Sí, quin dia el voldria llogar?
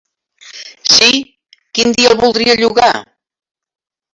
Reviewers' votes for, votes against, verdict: 1, 3, rejected